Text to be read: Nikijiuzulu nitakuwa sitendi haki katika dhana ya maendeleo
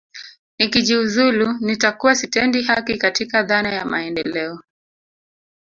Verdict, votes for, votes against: rejected, 1, 2